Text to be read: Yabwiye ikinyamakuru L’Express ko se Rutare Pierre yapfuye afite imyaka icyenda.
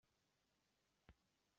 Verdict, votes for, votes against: rejected, 0, 2